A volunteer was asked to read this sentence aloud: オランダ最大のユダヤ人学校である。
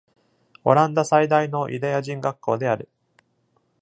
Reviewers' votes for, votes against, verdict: 2, 0, accepted